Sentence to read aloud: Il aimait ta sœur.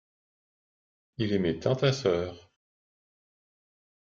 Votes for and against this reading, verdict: 0, 2, rejected